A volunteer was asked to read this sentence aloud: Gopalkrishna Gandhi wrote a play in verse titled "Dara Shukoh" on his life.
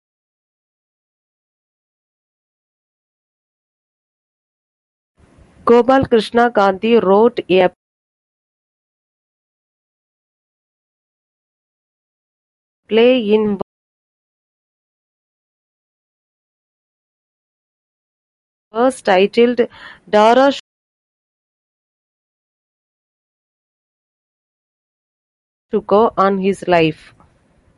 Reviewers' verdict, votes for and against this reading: rejected, 0, 2